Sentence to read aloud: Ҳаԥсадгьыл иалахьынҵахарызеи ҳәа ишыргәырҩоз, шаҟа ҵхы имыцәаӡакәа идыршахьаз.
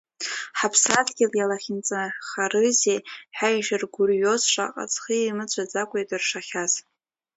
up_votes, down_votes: 2, 1